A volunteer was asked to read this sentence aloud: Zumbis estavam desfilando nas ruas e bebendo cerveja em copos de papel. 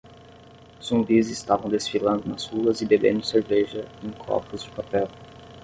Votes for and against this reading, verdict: 10, 0, accepted